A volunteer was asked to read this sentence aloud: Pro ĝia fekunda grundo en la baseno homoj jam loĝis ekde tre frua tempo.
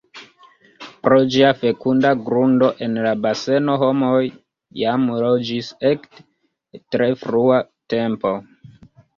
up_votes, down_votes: 0, 2